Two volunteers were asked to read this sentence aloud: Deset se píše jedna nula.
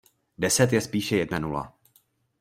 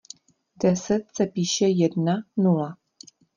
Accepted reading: second